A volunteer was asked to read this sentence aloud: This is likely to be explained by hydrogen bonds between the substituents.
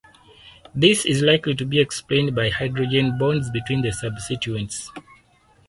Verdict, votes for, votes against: rejected, 2, 2